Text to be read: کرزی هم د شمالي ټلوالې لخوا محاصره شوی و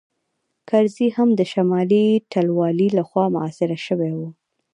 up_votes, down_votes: 1, 2